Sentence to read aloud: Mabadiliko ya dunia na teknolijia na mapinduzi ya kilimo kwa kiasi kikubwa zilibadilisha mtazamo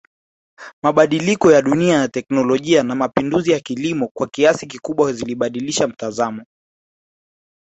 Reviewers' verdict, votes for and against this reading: accepted, 2, 0